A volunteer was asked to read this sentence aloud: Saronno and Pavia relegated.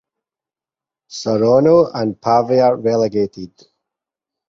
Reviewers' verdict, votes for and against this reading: accepted, 4, 0